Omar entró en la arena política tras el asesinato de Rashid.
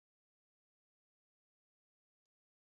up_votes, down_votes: 0, 4